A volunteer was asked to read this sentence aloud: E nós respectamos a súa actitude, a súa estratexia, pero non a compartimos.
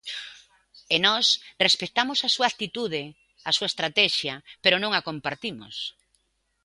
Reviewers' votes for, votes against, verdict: 2, 0, accepted